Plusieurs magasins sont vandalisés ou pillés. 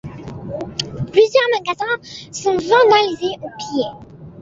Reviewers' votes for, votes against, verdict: 0, 2, rejected